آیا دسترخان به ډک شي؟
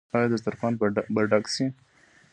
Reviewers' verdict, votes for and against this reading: accepted, 2, 0